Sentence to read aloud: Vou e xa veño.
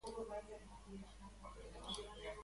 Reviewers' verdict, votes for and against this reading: rejected, 1, 2